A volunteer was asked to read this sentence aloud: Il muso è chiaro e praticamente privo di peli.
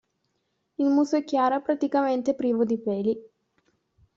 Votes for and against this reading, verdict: 2, 0, accepted